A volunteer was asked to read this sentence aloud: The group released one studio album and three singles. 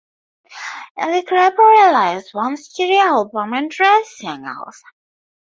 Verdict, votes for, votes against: rejected, 0, 4